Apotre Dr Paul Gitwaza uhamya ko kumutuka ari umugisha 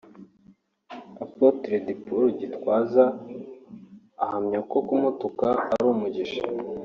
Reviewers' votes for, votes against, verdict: 0, 2, rejected